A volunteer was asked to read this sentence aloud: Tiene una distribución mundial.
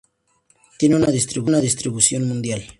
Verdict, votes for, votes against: rejected, 0, 2